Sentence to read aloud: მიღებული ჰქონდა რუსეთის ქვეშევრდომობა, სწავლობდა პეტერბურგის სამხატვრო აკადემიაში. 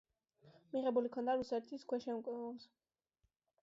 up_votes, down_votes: 0, 2